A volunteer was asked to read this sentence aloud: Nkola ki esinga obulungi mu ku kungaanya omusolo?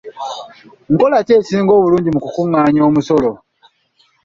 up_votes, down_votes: 2, 0